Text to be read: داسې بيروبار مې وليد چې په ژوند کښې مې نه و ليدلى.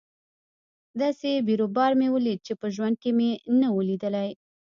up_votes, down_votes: 0, 2